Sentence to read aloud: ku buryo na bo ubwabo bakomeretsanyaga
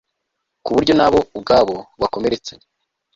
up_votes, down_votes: 2, 0